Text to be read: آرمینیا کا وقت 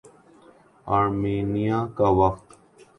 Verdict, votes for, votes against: accepted, 2, 0